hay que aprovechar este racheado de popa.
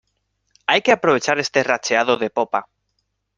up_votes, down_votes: 2, 0